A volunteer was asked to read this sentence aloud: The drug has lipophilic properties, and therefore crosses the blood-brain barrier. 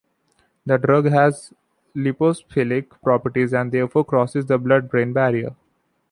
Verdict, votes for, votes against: rejected, 1, 2